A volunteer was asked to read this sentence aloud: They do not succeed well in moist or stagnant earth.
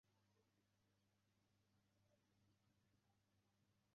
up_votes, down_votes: 0, 2